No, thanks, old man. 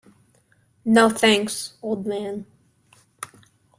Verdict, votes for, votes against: accepted, 2, 0